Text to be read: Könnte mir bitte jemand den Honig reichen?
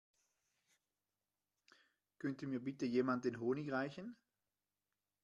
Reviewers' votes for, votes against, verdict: 2, 0, accepted